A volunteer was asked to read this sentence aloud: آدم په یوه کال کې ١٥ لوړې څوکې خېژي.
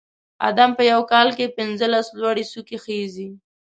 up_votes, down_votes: 0, 2